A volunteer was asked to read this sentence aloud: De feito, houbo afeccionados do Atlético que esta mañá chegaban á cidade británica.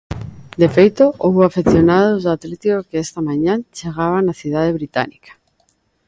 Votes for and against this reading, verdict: 2, 1, accepted